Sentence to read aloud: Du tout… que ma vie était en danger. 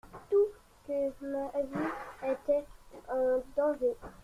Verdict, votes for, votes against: accepted, 2, 1